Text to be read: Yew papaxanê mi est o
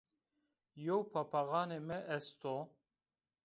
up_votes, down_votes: 2, 0